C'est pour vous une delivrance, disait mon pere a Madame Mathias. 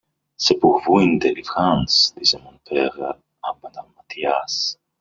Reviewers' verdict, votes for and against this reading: rejected, 0, 2